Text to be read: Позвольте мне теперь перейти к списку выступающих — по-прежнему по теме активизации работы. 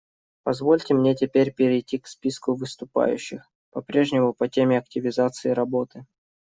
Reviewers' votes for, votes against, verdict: 2, 0, accepted